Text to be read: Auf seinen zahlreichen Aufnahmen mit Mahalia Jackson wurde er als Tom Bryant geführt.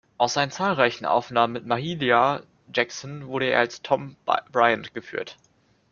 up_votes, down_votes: 1, 2